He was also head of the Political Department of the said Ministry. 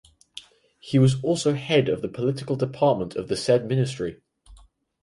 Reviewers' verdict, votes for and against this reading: accepted, 4, 0